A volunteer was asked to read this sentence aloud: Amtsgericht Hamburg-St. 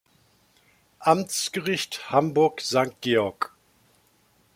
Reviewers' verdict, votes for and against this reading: rejected, 1, 2